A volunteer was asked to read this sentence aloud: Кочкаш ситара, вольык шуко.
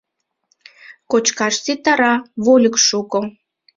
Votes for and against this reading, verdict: 2, 0, accepted